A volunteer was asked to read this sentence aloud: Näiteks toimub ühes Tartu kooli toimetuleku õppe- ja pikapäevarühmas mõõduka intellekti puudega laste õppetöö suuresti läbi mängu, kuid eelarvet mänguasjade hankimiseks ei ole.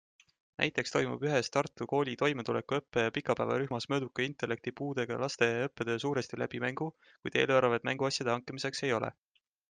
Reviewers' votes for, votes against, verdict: 2, 0, accepted